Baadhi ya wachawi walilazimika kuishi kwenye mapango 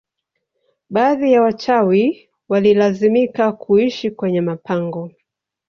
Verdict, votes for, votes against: accepted, 2, 0